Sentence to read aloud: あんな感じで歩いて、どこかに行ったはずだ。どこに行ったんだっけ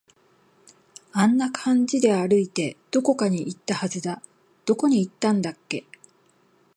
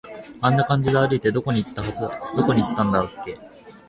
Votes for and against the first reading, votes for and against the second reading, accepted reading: 6, 0, 1, 2, first